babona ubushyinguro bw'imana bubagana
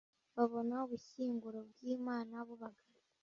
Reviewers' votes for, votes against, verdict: 0, 2, rejected